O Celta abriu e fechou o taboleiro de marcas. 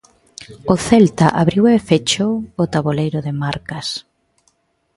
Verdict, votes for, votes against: accepted, 2, 0